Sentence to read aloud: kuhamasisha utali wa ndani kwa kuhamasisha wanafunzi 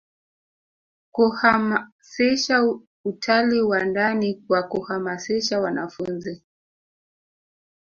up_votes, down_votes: 0, 2